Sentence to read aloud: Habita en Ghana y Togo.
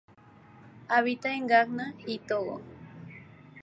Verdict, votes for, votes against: accepted, 2, 0